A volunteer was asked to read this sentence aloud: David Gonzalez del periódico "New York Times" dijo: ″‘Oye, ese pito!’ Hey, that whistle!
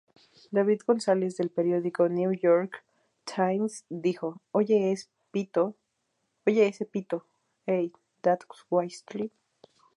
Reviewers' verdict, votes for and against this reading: rejected, 2, 2